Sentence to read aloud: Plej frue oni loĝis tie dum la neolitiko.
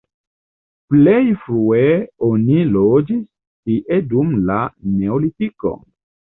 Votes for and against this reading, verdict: 2, 0, accepted